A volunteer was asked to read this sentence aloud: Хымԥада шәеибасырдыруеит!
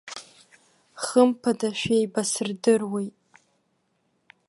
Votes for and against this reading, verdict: 1, 2, rejected